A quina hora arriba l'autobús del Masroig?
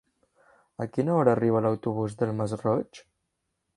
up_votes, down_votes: 3, 0